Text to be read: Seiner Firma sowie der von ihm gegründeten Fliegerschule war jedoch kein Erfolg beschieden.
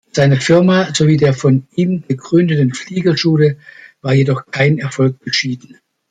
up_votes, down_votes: 2, 1